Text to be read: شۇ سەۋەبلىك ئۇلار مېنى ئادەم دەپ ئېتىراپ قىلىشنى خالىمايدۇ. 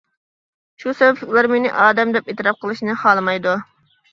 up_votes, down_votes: 1, 2